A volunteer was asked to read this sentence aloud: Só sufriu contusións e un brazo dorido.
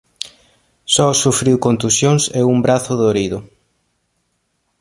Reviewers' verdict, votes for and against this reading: accepted, 2, 0